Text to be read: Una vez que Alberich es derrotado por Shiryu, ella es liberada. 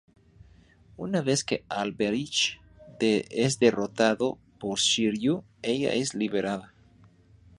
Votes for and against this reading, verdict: 0, 4, rejected